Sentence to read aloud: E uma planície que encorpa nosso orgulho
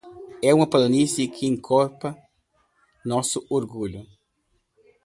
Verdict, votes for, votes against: rejected, 0, 2